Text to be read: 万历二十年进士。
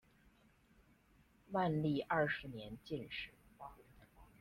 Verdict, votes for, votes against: accepted, 2, 0